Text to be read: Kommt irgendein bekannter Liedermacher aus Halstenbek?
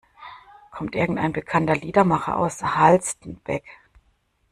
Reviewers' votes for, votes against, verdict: 0, 2, rejected